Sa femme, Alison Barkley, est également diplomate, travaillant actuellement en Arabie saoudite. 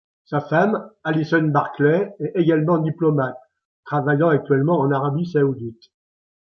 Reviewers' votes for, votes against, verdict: 2, 1, accepted